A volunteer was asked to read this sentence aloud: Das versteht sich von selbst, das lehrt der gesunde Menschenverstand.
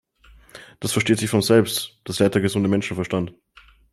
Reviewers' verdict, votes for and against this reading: accepted, 2, 0